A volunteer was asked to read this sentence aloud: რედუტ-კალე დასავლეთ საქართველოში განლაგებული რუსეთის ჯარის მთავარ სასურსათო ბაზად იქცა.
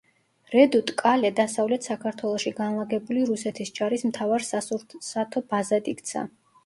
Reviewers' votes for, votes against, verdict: 1, 2, rejected